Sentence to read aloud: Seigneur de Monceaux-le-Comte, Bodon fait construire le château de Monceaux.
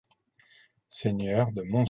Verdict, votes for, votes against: rejected, 0, 2